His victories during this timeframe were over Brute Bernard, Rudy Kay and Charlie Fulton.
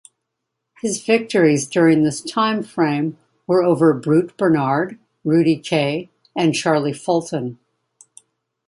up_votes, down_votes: 2, 0